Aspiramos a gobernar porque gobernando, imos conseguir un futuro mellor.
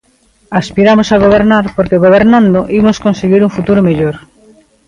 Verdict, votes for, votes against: accepted, 2, 0